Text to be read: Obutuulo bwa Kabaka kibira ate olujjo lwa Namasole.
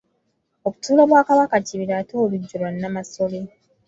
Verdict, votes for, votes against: rejected, 1, 2